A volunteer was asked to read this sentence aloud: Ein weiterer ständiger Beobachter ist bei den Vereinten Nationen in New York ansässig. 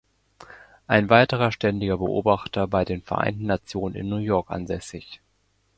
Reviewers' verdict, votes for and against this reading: accepted, 2, 1